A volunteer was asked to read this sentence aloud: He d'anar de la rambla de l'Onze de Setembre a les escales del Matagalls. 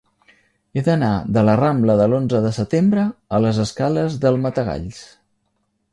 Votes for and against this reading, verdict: 2, 0, accepted